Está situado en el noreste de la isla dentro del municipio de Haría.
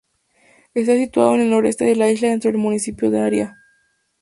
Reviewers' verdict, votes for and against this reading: rejected, 2, 2